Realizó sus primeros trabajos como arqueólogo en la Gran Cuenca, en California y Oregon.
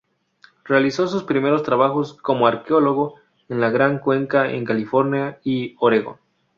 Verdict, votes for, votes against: accepted, 2, 0